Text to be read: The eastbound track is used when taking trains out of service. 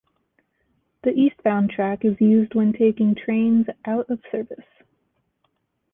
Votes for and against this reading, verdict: 2, 0, accepted